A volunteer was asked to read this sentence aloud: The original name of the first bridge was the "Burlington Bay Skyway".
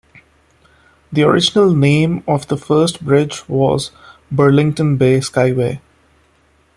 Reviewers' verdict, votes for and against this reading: rejected, 0, 2